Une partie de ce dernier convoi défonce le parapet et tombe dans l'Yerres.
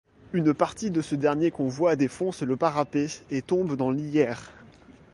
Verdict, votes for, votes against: accepted, 2, 0